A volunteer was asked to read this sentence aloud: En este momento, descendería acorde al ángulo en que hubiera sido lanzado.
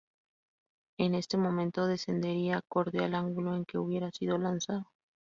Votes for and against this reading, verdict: 0, 2, rejected